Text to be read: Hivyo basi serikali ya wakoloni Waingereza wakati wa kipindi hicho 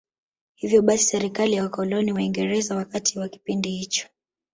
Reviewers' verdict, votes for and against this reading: accepted, 2, 0